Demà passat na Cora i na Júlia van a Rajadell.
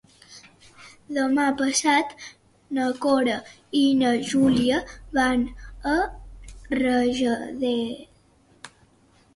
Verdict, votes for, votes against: accepted, 2, 0